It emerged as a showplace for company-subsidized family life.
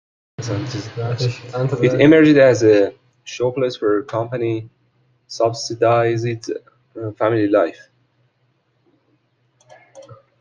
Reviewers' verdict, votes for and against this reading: rejected, 0, 2